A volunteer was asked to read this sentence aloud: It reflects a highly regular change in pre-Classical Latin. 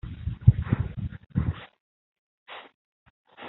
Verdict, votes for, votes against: rejected, 0, 2